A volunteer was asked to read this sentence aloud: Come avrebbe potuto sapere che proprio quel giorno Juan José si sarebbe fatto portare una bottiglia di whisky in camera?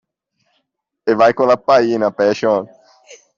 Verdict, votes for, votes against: rejected, 0, 2